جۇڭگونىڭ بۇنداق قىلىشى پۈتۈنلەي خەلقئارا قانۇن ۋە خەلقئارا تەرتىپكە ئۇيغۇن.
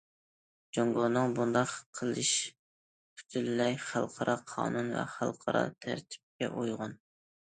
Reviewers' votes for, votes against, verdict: 0, 2, rejected